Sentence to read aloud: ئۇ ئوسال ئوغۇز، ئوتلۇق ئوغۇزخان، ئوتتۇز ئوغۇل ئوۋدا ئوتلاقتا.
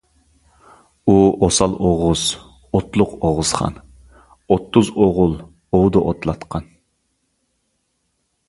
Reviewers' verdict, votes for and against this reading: rejected, 1, 2